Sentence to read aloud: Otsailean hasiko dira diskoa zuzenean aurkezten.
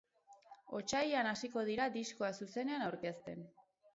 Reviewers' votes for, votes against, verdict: 6, 2, accepted